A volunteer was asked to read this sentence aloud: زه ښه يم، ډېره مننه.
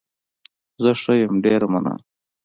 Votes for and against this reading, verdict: 2, 0, accepted